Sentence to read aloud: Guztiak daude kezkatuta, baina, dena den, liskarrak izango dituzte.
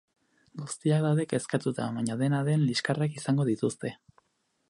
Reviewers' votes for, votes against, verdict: 4, 0, accepted